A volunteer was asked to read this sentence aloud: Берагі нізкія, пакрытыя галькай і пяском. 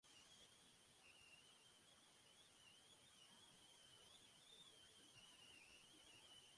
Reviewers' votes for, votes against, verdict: 0, 2, rejected